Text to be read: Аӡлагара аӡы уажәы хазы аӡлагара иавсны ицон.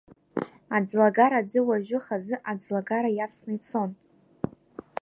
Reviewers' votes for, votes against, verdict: 2, 0, accepted